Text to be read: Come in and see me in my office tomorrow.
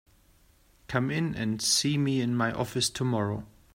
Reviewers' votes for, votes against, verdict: 2, 0, accepted